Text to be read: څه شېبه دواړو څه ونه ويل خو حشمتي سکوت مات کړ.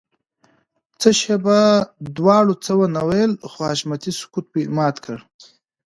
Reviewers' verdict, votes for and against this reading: accepted, 3, 0